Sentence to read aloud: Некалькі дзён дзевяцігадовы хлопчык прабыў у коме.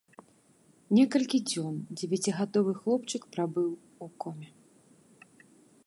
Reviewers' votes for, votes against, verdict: 2, 0, accepted